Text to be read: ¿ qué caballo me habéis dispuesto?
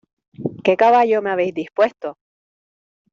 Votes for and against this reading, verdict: 2, 0, accepted